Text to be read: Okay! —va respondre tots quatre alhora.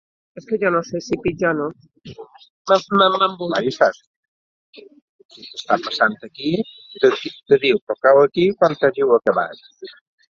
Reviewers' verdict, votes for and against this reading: rejected, 1, 2